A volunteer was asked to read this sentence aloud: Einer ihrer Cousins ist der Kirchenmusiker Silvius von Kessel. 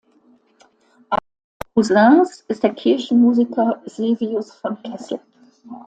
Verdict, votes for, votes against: rejected, 0, 2